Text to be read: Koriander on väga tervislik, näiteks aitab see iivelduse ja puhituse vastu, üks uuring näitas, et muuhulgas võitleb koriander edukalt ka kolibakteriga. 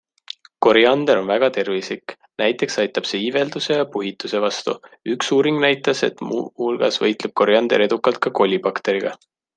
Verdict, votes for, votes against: accepted, 2, 0